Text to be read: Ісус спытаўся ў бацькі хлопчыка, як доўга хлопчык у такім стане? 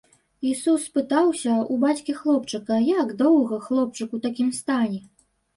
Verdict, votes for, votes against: accepted, 2, 0